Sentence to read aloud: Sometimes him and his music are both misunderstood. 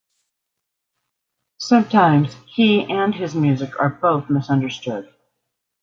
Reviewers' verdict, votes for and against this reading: rejected, 0, 2